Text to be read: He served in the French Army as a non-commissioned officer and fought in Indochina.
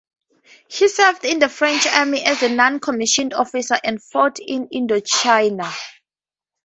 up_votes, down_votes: 2, 0